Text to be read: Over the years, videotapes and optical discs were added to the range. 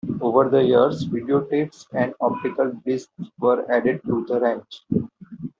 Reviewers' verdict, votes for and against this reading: accepted, 2, 0